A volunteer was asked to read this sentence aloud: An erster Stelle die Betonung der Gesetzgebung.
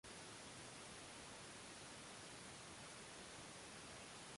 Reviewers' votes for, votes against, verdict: 0, 2, rejected